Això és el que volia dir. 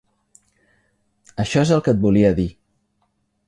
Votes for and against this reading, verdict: 1, 2, rejected